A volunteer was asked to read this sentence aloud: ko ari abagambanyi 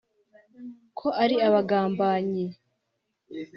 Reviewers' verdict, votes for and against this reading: accepted, 2, 0